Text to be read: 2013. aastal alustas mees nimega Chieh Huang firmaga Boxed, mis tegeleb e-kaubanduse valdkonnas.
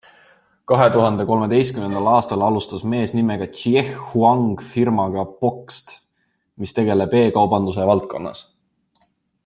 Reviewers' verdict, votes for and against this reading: rejected, 0, 2